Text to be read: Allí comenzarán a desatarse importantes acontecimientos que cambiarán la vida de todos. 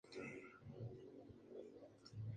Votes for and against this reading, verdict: 0, 2, rejected